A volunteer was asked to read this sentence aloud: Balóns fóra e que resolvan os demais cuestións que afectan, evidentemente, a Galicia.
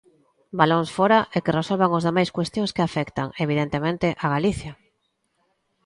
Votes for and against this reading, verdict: 3, 0, accepted